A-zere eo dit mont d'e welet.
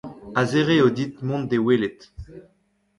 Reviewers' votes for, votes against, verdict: 1, 2, rejected